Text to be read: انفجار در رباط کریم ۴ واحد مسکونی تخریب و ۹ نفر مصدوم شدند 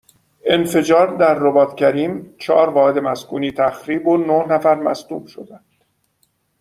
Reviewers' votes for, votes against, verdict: 0, 2, rejected